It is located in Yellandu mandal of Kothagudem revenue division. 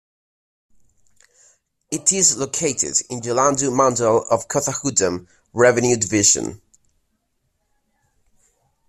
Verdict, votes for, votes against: rejected, 1, 2